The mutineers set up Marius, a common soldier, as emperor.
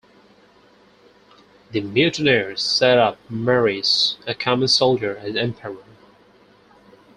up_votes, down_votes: 4, 2